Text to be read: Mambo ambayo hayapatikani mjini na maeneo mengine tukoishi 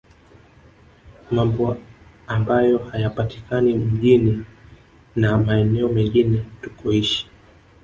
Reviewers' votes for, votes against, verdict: 1, 2, rejected